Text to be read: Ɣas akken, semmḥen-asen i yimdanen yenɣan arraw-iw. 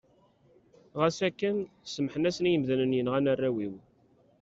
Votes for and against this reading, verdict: 2, 1, accepted